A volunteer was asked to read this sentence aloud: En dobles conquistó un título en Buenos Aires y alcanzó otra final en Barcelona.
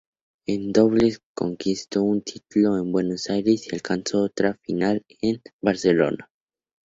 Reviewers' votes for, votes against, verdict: 2, 0, accepted